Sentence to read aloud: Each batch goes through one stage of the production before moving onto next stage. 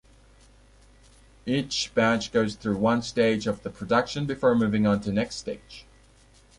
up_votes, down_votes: 2, 0